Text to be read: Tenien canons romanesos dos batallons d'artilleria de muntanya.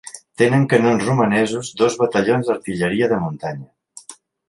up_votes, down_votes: 0, 2